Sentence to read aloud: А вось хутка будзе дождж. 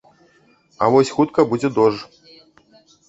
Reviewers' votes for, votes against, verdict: 0, 2, rejected